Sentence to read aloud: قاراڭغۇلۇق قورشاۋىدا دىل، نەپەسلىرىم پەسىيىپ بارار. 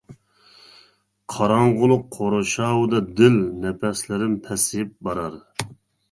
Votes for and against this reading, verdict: 2, 0, accepted